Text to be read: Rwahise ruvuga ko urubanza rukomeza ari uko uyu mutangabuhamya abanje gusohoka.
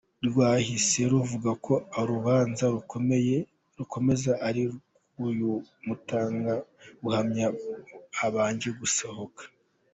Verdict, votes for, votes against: rejected, 0, 2